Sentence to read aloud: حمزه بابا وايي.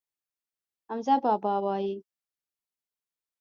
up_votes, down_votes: 1, 2